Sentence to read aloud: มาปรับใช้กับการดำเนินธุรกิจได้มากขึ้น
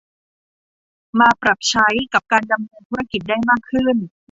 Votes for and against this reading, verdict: 0, 2, rejected